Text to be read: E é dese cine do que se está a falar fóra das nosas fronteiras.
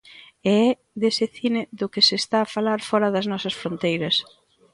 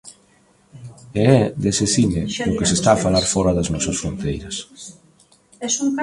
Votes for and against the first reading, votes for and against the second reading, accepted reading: 2, 0, 1, 2, first